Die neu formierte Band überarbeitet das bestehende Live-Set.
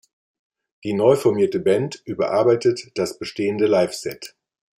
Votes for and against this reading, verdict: 2, 0, accepted